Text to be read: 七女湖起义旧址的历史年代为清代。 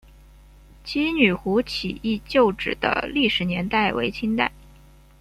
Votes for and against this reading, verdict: 2, 0, accepted